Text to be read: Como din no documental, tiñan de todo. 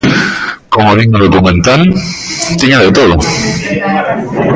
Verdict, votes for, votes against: rejected, 0, 2